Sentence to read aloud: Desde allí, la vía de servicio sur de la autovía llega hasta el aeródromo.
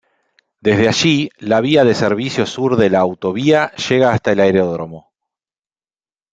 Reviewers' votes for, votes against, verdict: 2, 0, accepted